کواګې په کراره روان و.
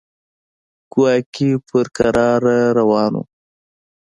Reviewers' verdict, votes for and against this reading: accepted, 2, 0